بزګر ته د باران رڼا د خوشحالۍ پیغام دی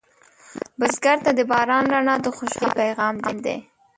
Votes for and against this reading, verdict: 1, 2, rejected